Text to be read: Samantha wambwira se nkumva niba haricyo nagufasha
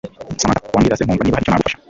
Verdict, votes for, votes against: rejected, 2, 3